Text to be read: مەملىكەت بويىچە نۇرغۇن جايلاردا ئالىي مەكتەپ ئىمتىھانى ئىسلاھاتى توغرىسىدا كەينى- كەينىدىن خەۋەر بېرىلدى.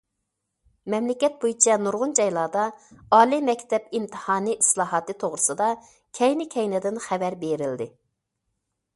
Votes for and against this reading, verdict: 2, 1, accepted